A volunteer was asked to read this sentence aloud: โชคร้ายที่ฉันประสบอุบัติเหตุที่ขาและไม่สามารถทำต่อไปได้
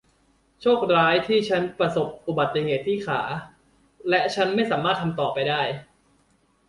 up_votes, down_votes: 1, 2